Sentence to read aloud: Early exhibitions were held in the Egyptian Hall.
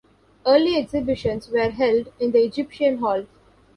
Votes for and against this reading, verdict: 1, 2, rejected